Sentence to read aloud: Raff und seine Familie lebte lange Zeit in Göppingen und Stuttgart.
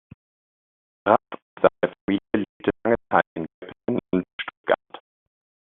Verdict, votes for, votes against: rejected, 0, 2